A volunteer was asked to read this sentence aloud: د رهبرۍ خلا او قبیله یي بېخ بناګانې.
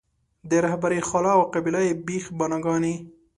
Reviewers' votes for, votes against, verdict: 2, 0, accepted